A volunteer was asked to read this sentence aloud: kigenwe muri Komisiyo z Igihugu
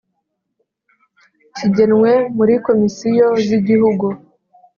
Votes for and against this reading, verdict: 2, 0, accepted